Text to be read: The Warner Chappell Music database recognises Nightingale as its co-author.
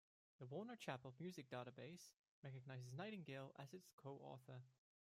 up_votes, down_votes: 0, 2